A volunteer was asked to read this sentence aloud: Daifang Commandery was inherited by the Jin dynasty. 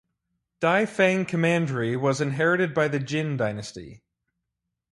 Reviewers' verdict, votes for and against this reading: accepted, 4, 0